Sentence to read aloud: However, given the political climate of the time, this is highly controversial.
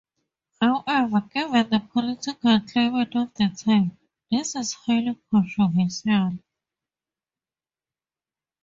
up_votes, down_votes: 2, 2